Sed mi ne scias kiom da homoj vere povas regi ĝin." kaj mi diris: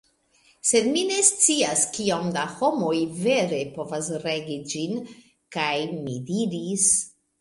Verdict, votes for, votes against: rejected, 1, 2